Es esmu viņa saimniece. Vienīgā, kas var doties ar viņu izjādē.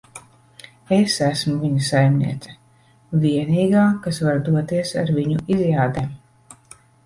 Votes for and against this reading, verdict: 2, 0, accepted